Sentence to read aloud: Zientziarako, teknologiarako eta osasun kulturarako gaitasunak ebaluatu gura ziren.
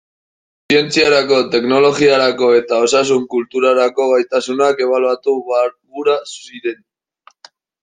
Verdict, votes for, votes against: rejected, 1, 2